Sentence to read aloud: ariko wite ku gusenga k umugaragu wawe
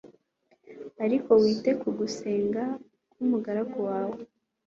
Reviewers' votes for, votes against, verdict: 2, 0, accepted